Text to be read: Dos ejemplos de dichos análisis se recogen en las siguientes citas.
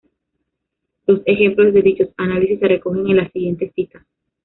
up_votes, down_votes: 0, 2